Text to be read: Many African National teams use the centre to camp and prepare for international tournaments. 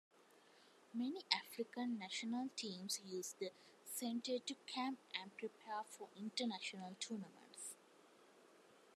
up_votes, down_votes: 2, 1